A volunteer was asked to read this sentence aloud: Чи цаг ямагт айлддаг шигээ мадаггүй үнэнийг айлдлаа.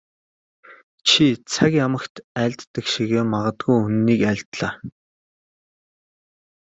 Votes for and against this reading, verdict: 0, 2, rejected